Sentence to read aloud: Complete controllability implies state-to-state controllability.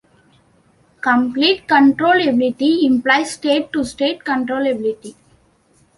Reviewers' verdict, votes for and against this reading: accepted, 2, 0